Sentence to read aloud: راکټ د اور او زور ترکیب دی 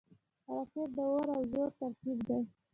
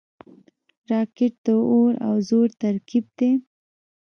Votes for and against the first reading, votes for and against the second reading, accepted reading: 2, 1, 1, 2, first